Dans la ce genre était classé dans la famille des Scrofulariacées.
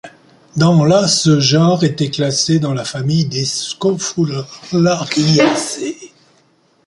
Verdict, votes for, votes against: rejected, 0, 2